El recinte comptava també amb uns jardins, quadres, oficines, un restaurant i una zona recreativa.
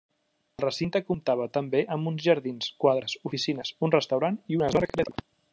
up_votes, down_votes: 0, 2